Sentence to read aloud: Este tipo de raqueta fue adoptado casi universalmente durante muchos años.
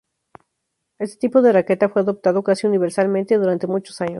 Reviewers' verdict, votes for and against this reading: accepted, 2, 0